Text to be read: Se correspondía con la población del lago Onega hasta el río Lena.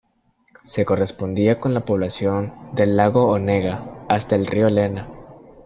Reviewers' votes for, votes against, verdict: 1, 2, rejected